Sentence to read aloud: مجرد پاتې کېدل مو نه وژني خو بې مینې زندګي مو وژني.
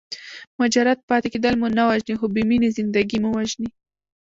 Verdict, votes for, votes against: rejected, 0, 2